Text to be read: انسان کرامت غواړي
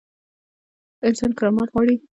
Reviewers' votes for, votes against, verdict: 2, 1, accepted